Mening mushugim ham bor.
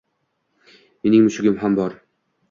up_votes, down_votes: 2, 0